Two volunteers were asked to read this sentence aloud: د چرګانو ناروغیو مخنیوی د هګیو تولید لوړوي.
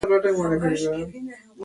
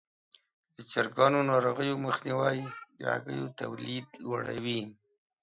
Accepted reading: second